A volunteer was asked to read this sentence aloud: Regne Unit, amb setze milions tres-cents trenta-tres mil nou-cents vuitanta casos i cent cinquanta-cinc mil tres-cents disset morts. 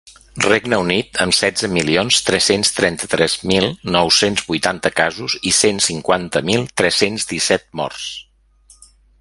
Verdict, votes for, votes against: rejected, 0, 2